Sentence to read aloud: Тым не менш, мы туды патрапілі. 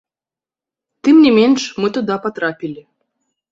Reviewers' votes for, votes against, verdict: 0, 2, rejected